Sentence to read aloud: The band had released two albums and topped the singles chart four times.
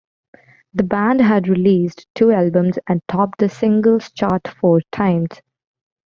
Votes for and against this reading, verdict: 2, 0, accepted